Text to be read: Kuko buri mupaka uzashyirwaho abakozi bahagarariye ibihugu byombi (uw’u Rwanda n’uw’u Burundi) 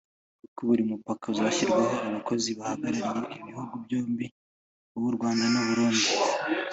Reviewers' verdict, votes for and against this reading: accepted, 2, 0